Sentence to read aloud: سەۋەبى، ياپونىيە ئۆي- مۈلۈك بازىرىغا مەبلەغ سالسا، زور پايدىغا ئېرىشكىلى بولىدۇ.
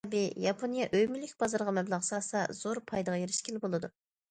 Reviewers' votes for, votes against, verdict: 0, 2, rejected